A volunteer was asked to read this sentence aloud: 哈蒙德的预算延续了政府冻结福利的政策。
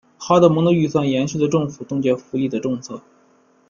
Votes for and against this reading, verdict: 1, 2, rejected